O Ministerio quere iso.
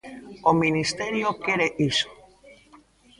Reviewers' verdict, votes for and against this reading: rejected, 1, 2